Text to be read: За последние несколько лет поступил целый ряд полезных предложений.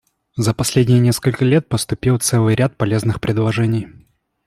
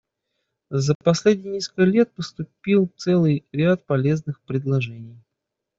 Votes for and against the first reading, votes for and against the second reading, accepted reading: 2, 0, 1, 2, first